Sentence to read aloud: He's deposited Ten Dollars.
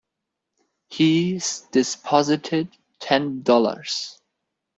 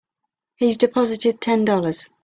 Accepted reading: second